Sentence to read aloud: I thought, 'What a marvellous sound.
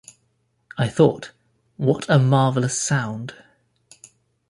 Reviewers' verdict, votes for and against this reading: accepted, 2, 0